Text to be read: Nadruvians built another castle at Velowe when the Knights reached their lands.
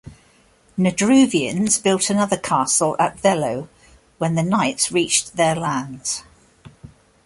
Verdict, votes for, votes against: accepted, 2, 0